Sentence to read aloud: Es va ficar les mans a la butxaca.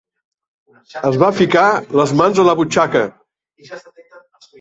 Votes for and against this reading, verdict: 0, 2, rejected